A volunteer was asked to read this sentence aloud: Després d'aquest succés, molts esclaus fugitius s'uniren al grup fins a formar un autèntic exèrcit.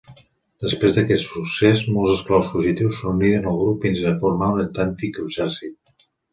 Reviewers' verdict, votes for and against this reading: accepted, 2, 0